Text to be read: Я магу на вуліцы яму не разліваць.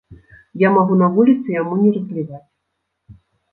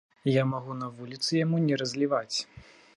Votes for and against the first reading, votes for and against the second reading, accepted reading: 1, 2, 2, 0, second